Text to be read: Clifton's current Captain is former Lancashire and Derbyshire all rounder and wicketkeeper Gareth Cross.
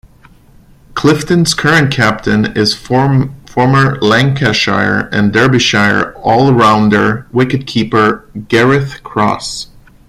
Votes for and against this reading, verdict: 0, 2, rejected